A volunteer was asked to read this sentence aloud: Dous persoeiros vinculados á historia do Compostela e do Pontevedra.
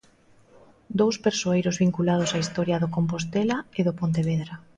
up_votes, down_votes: 2, 0